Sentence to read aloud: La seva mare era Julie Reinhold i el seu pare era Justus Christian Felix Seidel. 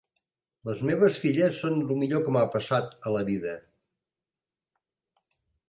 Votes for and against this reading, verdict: 0, 3, rejected